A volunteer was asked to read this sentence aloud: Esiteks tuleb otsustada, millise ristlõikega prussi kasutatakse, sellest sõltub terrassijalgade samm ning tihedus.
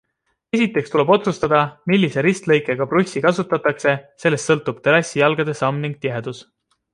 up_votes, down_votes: 2, 0